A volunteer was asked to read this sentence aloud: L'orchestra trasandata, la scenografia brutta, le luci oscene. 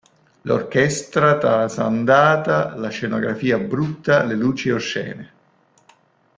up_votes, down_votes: 2, 0